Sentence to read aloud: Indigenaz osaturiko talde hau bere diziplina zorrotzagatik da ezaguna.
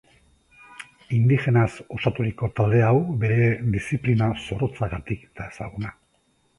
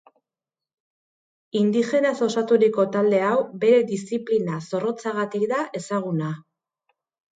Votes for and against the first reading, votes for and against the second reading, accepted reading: 2, 0, 0, 2, first